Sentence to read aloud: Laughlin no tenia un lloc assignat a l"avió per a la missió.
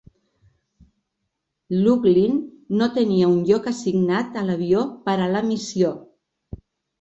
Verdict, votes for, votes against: accepted, 2, 0